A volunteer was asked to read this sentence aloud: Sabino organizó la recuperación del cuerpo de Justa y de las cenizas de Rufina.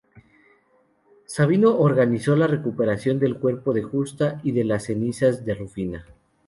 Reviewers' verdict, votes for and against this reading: accepted, 2, 0